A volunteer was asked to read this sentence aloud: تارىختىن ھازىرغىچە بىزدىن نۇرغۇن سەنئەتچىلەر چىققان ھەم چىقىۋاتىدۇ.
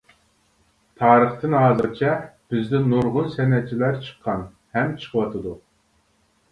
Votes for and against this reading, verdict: 0, 2, rejected